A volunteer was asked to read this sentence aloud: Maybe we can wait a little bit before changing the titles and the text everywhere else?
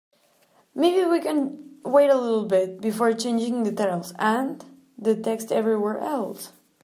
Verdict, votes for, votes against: accepted, 3, 0